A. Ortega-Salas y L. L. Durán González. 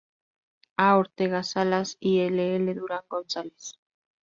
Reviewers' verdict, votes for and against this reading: rejected, 0, 2